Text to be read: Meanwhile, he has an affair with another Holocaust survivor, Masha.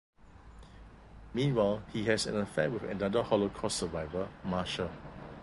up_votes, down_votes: 1, 2